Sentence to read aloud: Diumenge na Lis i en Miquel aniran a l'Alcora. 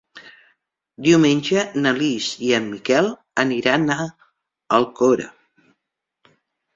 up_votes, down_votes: 0, 2